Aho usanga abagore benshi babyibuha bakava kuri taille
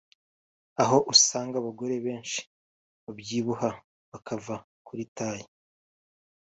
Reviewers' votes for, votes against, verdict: 2, 1, accepted